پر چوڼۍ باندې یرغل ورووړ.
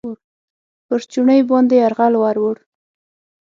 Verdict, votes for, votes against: rejected, 3, 6